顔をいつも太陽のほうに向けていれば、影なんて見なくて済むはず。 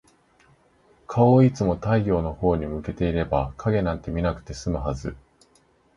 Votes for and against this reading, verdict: 2, 0, accepted